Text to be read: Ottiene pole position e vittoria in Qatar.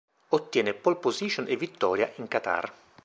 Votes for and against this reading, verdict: 2, 0, accepted